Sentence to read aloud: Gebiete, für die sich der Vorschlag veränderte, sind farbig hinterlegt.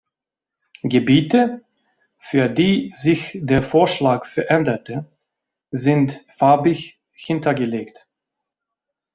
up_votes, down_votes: 0, 2